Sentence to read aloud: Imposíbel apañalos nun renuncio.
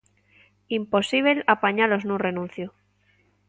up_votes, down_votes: 2, 0